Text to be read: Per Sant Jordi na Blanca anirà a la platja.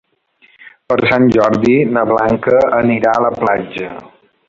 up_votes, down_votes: 3, 1